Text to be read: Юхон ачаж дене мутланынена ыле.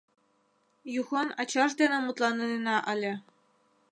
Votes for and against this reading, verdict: 1, 2, rejected